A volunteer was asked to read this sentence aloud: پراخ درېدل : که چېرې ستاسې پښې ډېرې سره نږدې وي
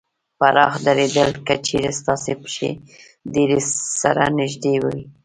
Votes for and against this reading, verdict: 2, 0, accepted